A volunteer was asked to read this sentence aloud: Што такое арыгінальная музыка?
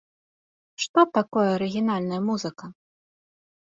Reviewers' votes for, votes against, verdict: 2, 0, accepted